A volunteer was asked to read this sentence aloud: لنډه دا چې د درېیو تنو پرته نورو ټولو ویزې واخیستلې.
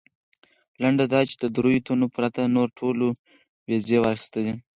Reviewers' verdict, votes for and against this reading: accepted, 4, 0